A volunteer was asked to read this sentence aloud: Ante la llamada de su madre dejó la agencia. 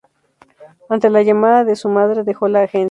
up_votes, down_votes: 2, 2